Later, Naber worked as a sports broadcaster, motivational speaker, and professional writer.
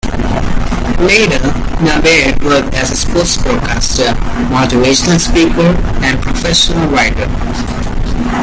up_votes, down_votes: 2, 0